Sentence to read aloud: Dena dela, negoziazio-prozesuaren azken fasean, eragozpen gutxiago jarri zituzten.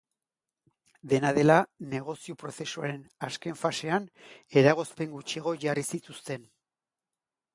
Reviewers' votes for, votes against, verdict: 0, 2, rejected